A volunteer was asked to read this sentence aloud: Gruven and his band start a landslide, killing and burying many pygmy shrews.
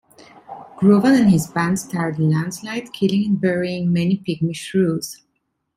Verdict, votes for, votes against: accepted, 2, 0